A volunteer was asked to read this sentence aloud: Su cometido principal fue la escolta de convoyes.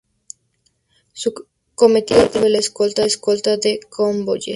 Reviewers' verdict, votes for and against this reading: rejected, 0, 2